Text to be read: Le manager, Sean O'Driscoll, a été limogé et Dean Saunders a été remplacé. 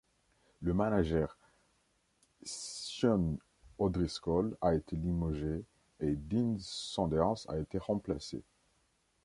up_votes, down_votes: 2, 1